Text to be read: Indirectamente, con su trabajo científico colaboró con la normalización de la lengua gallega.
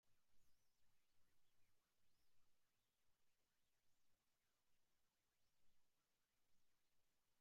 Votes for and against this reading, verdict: 0, 2, rejected